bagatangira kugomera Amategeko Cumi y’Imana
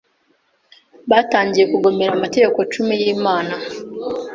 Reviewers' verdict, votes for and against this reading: rejected, 1, 2